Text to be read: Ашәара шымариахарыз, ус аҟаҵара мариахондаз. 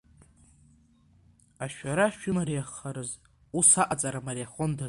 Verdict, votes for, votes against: accepted, 2, 1